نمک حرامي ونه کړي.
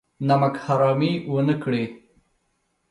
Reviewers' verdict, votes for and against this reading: accepted, 2, 0